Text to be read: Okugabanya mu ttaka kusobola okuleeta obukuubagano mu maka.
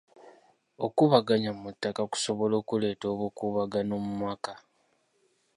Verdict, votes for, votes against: rejected, 1, 2